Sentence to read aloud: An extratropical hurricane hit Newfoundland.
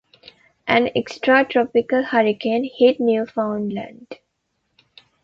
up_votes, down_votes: 1, 2